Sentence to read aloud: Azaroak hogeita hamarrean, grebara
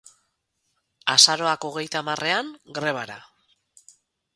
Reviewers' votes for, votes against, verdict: 4, 0, accepted